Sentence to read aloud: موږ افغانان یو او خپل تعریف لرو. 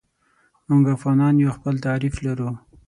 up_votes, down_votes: 6, 0